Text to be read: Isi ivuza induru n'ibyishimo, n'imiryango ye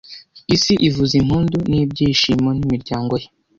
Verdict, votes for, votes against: rejected, 1, 2